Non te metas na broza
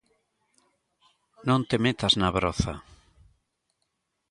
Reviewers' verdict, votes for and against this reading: accepted, 2, 0